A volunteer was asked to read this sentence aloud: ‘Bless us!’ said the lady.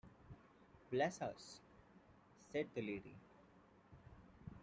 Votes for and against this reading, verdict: 2, 0, accepted